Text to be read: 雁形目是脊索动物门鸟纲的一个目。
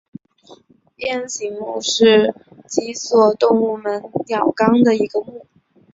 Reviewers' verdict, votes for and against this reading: accepted, 2, 0